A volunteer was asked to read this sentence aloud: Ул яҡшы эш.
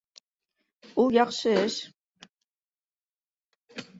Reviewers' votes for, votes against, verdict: 1, 2, rejected